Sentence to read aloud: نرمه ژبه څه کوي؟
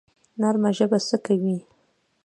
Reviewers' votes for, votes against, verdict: 2, 0, accepted